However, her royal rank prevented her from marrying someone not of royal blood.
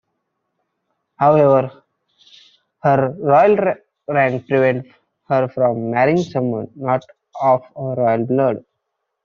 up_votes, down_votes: 0, 2